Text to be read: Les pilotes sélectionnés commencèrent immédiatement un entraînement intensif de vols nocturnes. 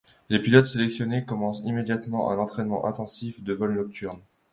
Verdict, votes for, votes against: rejected, 0, 2